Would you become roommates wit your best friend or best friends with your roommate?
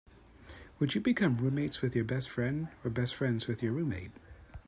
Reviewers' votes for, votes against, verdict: 3, 1, accepted